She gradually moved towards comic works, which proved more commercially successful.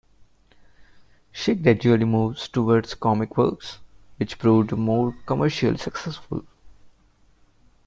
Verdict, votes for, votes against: accepted, 3, 1